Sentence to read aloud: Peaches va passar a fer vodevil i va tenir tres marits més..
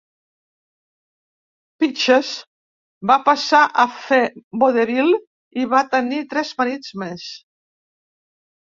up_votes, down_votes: 2, 0